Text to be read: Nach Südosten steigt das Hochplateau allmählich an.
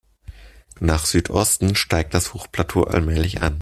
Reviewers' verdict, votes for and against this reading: accepted, 2, 0